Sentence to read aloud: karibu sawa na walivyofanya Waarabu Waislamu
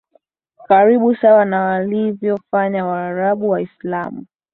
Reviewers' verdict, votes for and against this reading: rejected, 2, 2